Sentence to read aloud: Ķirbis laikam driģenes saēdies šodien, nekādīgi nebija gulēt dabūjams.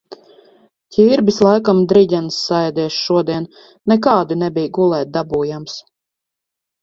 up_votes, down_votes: 2, 4